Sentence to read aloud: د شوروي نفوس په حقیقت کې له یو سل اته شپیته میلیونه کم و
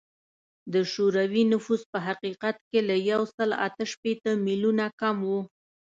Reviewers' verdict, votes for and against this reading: accepted, 2, 0